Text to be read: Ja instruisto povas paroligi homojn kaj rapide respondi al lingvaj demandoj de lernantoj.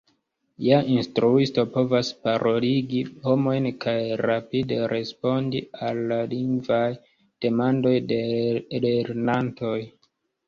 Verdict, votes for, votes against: rejected, 1, 2